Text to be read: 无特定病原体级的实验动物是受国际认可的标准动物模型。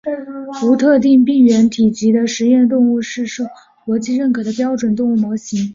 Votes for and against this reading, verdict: 3, 0, accepted